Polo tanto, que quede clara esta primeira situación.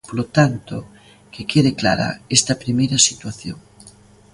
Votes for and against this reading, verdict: 2, 0, accepted